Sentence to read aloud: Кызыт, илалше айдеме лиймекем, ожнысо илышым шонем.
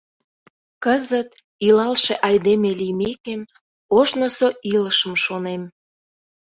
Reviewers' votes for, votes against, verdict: 2, 0, accepted